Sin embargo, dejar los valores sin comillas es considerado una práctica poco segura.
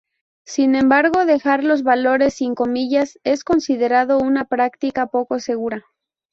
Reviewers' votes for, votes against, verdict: 2, 0, accepted